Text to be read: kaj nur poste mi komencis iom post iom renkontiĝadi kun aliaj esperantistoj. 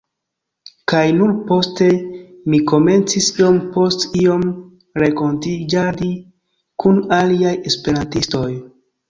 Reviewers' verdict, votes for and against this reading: accepted, 2, 1